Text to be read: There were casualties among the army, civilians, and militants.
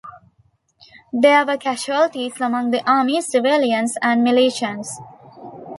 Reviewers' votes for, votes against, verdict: 0, 2, rejected